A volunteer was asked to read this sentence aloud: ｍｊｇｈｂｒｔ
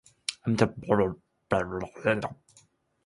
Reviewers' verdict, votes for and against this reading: rejected, 0, 5